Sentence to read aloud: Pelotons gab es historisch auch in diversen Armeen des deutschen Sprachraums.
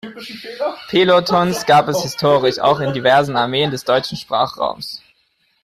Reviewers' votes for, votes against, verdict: 2, 1, accepted